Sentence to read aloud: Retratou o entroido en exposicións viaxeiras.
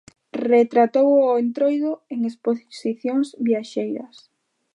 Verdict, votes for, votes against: rejected, 1, 2